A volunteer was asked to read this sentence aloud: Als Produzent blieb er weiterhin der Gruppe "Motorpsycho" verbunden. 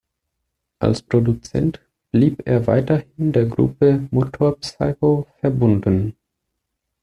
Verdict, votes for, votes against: rejected, 1, 2